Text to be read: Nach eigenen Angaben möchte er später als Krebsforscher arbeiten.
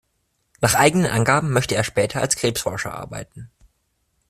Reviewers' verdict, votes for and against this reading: accepted, 2, 0